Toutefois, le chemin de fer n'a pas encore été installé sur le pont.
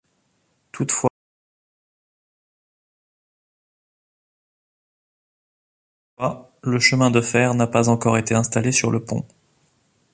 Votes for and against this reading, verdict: 0, 2, rejected